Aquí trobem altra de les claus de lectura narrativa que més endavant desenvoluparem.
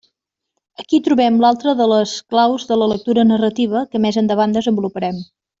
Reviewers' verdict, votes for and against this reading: rejected, 0, 2